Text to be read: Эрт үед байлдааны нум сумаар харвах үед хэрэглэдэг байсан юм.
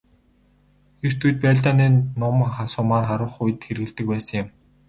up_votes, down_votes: 2, 2